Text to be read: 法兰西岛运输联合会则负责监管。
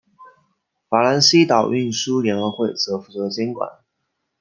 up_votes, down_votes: 2, 0